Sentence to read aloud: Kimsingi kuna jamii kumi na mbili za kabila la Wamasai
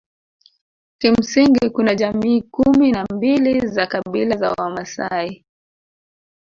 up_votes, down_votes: 1, 2